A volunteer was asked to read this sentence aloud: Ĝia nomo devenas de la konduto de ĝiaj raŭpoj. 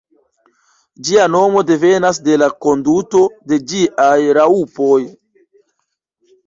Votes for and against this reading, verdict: 0, 2, rejected